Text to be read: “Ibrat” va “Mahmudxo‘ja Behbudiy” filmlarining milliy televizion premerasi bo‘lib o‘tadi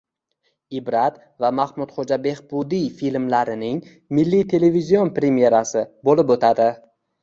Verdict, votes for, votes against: accepted, 2, 0